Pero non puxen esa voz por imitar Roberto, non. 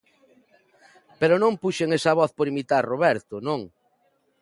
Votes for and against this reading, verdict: 2, 0, accepted